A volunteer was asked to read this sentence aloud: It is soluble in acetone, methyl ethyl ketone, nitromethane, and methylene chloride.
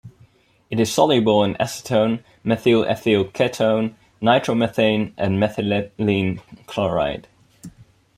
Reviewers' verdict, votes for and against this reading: rejected, 4, 6